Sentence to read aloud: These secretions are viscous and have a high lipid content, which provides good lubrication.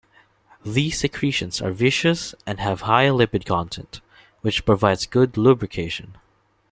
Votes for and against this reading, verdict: 0, 2, rejected